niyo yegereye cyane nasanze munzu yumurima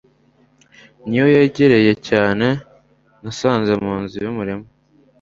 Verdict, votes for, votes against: accepted, 2, 0